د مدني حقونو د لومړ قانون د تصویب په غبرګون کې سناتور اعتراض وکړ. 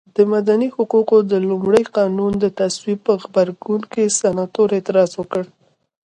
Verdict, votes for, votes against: rejected, 0, 2